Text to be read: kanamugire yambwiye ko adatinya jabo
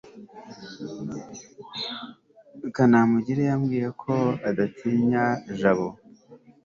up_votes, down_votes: 3, 0